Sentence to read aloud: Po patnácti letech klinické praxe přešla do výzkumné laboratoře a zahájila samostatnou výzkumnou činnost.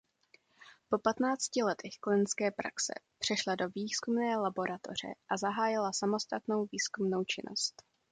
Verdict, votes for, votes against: accepted, 2, 0